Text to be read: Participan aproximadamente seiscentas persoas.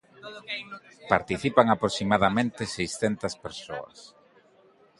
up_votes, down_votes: 2, 0